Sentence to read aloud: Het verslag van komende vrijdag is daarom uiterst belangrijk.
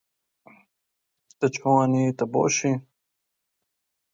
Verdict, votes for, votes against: rejected, 0, 2